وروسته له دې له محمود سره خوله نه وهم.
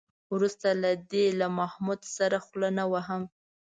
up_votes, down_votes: 2, 0